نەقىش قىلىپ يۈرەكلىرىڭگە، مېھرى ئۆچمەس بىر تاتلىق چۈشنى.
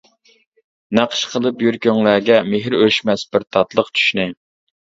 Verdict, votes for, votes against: accepted, 2, 1